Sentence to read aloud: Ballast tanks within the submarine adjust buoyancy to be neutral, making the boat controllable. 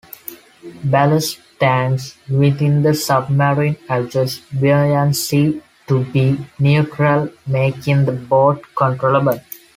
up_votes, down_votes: 2, 0